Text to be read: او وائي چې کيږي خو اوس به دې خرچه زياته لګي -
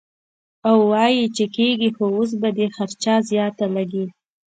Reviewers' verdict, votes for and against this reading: accepted, 2, 0